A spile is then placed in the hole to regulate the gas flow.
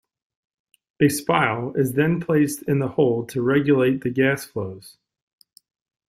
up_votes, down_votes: 2, 1